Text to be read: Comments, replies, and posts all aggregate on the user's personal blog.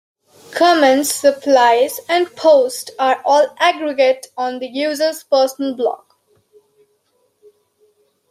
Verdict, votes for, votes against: rejected, 0, 2